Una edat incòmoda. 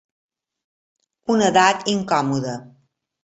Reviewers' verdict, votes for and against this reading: accepted, 2, 0